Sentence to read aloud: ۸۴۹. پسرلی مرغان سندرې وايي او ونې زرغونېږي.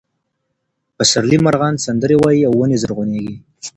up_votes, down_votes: 0, 2